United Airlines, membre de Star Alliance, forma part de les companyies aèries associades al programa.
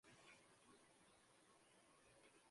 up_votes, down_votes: 0, 2